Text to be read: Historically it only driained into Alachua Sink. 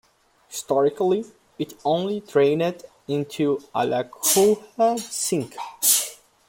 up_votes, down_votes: 3, 2